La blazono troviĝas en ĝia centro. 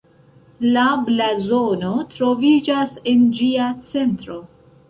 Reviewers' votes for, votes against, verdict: 1, 2, rejected